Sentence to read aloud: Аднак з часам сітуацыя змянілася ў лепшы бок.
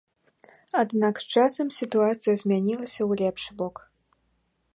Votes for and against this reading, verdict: 3, 0, accepted